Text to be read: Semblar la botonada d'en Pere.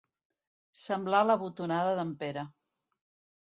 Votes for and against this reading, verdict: 2, 0, accepted